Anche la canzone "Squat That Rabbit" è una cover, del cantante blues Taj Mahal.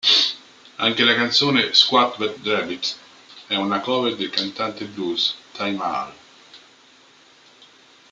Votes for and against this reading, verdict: 3, 2, accepted